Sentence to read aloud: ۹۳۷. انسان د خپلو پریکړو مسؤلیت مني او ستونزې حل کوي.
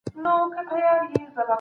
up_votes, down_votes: 0, 2